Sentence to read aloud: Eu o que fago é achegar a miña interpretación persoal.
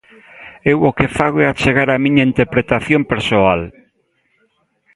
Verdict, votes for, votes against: rejected, 0, 2